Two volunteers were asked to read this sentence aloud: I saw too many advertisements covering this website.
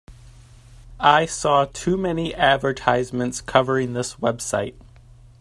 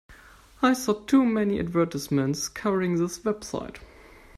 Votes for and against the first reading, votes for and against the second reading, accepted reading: 2, 0, 1, 2, first